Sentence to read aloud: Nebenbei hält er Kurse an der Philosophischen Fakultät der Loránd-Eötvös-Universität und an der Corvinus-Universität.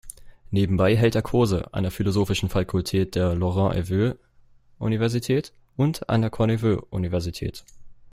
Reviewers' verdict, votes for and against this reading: rejected, 0, 2